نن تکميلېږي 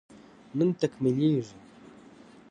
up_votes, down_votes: 2, 0